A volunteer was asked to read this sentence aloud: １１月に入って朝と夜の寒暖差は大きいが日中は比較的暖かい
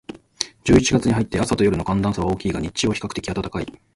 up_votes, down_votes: 0, 2